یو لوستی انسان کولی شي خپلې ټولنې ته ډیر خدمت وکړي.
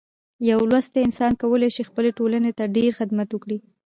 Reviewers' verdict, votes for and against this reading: rejected, 1, 2